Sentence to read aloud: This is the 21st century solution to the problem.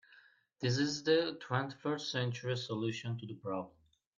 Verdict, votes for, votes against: rejected, 0, 2